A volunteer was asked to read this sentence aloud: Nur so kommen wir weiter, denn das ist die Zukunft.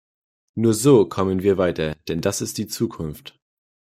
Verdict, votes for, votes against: accepted, 2, 0